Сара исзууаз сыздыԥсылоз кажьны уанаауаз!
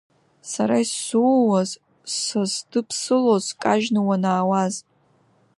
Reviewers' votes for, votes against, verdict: 2, 1, accepted